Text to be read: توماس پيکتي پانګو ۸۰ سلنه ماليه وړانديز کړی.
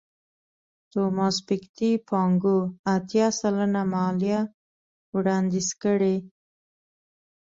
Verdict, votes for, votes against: rejected, 0, 2